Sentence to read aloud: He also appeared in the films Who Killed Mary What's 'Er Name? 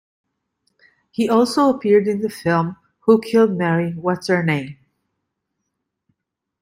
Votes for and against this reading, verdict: 0, 2, rejected